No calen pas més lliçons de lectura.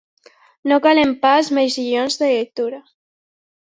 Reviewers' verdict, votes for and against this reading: rejected, 1, 2